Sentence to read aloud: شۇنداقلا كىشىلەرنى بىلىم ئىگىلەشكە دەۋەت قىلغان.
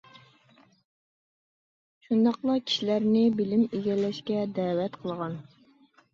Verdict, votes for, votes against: accepted, 2, 0